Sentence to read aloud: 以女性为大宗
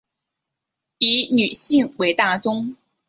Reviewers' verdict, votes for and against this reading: accepted, 2, 0